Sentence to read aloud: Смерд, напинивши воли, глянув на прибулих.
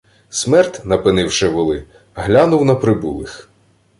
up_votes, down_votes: 2, 0